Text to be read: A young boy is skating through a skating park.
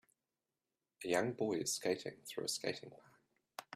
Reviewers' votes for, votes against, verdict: 0, 2, rejected